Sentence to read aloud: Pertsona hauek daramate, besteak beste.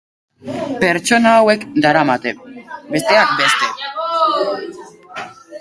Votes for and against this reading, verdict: 4, 4, rejected